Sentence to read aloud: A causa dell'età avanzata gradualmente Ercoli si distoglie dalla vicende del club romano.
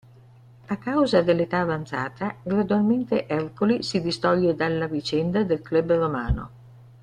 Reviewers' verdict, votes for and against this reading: rejected, 1, 2